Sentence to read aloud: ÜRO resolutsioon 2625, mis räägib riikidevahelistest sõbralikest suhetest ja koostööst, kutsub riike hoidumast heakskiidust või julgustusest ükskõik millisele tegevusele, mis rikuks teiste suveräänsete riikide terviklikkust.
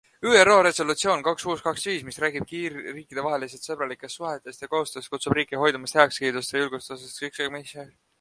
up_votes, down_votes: 0, 2